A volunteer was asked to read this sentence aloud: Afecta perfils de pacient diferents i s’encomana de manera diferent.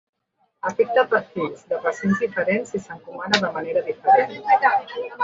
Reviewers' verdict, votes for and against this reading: rejected, 1, 2